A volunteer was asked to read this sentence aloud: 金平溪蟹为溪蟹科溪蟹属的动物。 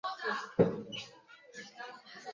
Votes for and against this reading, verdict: 0, 2, rejected